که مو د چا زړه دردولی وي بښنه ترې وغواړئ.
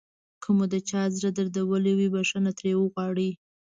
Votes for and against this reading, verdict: 2, 1, accepted